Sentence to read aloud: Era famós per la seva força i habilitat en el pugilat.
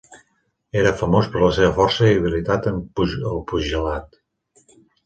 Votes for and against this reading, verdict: 0, 3, rejected